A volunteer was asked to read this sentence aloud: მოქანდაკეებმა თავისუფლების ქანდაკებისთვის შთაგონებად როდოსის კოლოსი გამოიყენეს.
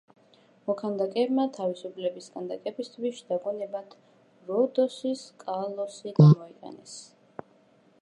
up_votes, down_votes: 0, 2